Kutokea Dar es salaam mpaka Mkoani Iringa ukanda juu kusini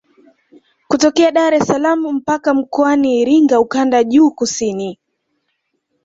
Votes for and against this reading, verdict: 2, 0, accepted